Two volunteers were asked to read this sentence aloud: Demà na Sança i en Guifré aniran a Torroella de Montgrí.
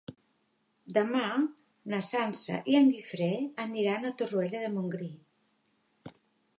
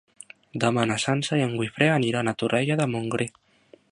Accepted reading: first